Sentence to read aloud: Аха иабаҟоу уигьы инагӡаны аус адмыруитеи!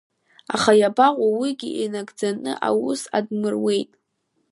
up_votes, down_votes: 1, 2